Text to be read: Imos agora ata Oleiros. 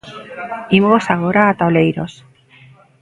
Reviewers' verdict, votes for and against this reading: rejected, 1, 2